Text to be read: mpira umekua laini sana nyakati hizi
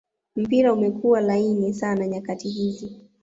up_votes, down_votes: 1, 2